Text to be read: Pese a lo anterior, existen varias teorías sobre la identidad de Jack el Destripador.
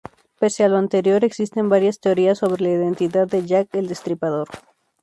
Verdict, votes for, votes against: rejected, 0, 2